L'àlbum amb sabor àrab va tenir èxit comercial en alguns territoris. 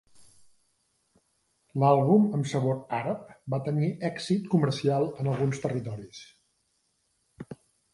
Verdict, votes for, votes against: accepted, 3, 0